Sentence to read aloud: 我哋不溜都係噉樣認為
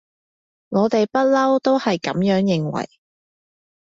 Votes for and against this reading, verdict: 2, 0, accepted